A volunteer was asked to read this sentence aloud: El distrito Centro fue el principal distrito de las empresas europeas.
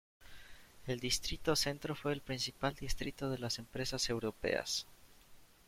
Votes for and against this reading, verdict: 1, 2, rejected